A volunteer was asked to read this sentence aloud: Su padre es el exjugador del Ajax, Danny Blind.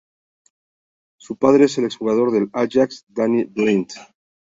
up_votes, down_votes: 2, 0